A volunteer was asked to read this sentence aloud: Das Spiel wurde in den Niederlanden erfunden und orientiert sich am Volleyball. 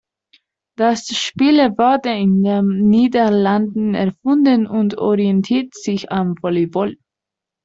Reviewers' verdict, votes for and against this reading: accepted, 2, 1